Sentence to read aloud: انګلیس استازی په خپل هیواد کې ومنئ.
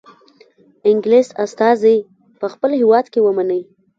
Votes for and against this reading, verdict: 1, 2, rejected